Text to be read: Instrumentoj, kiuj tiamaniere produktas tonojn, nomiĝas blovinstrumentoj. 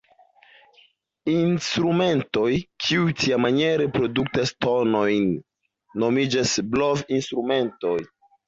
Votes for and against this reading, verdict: 2, 1, accepted